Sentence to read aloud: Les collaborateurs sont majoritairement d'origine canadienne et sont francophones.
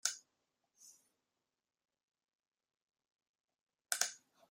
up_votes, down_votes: 0, 2